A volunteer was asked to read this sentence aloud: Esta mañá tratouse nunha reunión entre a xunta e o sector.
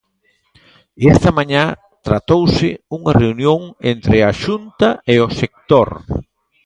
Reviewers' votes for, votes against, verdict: 0, 2, rejected